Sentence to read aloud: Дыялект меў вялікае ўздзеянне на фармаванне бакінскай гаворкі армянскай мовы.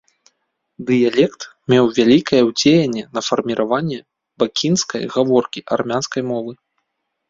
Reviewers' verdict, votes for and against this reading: accepted, 2, 1